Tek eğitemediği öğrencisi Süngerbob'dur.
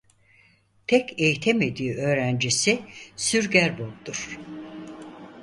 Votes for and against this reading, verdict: 0, 4, rejected